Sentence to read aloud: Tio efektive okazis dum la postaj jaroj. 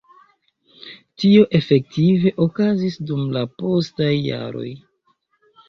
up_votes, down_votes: 2, 1